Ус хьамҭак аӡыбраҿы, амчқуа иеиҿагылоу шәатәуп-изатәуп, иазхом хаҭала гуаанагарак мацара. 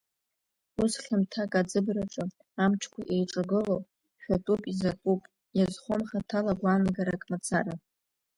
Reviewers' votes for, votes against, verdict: 0, 2, rejected